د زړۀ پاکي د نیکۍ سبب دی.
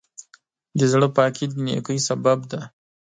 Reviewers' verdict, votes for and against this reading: accepted, 2, 0